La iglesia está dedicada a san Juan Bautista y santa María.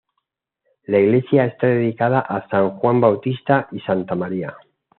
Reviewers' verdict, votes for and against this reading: accepted, 2, 0